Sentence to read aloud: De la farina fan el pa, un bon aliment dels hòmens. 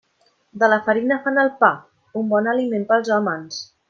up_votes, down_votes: 0, 2